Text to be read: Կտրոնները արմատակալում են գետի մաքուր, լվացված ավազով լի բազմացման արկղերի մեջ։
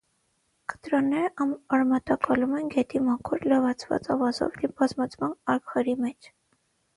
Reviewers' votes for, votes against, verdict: 0, 6, rejected